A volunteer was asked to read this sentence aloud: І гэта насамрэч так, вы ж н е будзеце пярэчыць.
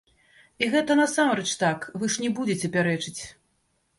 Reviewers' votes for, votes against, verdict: 0, 2, rejected